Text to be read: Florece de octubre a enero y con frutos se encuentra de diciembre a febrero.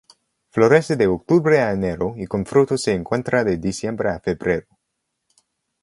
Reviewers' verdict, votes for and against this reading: rejected, 2, 2